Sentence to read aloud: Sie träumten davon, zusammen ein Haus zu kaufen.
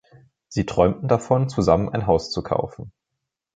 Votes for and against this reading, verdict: 2, 0, accepted